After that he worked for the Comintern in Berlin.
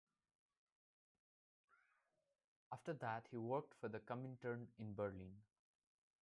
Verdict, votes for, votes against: accepted, 2, 1